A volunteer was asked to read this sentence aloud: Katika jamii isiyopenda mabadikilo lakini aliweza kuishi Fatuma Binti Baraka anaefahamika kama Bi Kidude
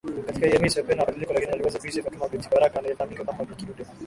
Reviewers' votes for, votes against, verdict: 5, 19, rejected